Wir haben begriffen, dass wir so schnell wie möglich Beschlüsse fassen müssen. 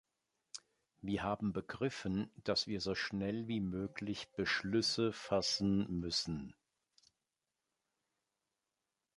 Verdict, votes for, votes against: accepted, 2, 0